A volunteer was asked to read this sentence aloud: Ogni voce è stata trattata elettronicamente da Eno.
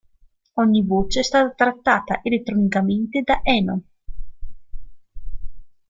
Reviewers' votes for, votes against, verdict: 0, 2, rejected